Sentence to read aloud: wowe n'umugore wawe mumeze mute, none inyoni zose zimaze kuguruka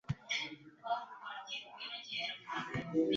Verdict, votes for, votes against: rejected, 0, 2